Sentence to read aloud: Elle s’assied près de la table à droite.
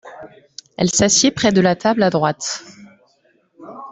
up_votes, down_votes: 2, 0